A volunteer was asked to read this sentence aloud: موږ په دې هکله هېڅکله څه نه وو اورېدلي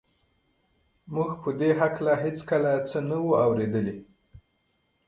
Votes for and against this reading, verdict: 1, 2, rejected